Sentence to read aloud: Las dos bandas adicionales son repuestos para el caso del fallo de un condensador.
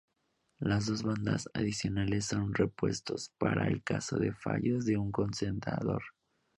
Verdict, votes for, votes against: rejected, 0, 2